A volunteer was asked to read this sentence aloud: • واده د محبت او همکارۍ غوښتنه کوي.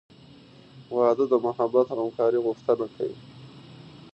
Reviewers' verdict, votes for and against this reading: rejected, 1, 2